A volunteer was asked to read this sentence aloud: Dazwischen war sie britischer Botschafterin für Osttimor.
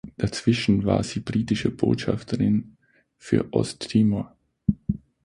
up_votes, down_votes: 3, 6